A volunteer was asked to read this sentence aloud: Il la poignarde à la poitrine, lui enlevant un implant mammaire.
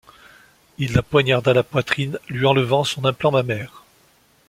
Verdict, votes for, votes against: rejected, 0, 2